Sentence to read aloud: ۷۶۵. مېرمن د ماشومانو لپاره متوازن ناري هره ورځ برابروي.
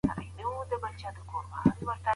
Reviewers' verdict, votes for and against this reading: rejected, 0, 2